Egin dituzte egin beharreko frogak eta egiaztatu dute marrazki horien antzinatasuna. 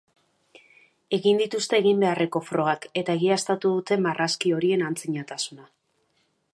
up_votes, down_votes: 2, 0